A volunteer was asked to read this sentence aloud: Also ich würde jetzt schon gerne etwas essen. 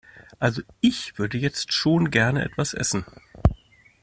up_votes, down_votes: 2, 0